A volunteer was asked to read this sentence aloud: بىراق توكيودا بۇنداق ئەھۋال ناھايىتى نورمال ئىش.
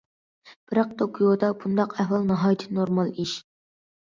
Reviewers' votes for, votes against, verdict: 2, 0, accepted